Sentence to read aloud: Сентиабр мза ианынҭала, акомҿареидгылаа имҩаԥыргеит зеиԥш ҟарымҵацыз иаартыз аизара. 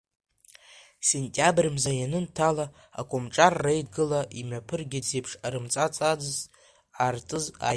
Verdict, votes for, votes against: rejected, 1, 2